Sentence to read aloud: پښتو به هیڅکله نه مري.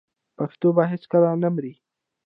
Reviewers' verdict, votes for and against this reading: rejected, 0, 2